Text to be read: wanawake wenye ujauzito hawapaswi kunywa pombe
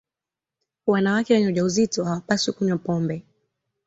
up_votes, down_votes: 2, 0